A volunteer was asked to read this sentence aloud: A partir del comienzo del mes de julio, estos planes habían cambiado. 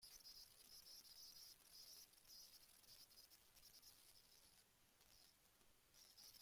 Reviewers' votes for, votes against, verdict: 0, 2, rejected